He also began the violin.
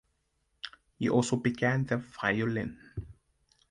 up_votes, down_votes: 2, 0